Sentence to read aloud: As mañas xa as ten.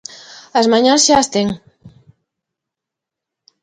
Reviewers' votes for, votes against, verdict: 2, 0, accepted